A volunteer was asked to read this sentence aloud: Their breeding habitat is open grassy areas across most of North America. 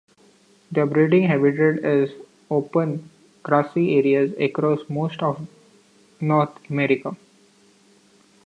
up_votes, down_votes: 2, 1